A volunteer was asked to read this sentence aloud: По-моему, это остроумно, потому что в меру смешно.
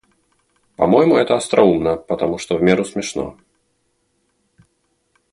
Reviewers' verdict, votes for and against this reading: accepted, 2, 0